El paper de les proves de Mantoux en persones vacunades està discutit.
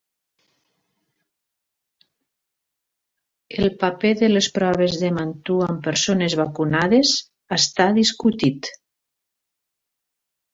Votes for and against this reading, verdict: 3, 0, accepted